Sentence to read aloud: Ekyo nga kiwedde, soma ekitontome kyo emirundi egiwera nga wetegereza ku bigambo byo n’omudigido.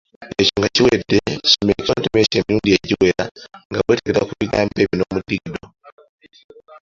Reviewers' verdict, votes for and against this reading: accepted, 2, 0